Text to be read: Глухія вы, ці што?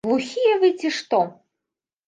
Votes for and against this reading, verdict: 2, 0, accepted